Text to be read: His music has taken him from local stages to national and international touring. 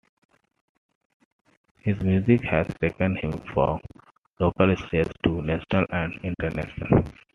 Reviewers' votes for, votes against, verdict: 0, 2, rejected